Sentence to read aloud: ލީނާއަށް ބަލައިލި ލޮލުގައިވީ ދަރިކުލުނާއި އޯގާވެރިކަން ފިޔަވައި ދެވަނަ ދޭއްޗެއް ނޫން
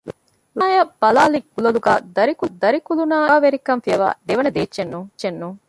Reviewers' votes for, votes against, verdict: 0, 2, rejected